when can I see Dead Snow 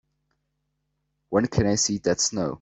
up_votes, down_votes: 2, 0